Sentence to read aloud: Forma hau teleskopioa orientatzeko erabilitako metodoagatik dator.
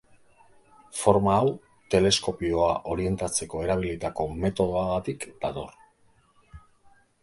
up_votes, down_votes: 2, 0